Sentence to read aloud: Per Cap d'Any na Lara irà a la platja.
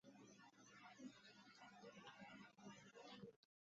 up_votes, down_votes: 1, 2